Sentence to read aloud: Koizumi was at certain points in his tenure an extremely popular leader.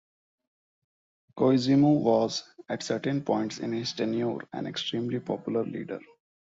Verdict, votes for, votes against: accepted, 2, 1